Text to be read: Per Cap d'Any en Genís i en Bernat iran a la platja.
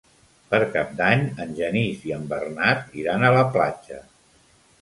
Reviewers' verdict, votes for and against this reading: accepted, 3, 0